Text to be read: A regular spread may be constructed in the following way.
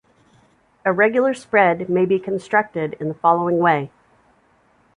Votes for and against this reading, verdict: 3, 0, accepted